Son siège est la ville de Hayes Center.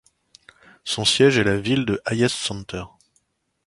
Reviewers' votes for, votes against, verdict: 2, 0, accepted